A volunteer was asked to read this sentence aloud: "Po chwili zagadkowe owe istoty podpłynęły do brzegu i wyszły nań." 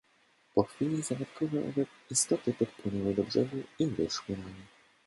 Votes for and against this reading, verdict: 2, 0, accepted